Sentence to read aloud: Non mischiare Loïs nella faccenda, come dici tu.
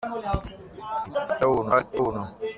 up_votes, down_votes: 0, 2